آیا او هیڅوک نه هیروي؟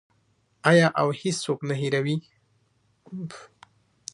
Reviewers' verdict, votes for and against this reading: accepted, 2, 0